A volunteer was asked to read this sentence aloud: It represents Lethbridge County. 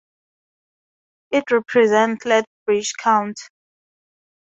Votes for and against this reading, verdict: 0, 2, rejected